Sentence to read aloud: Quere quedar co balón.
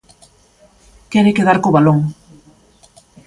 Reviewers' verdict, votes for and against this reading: rejected, 1, 2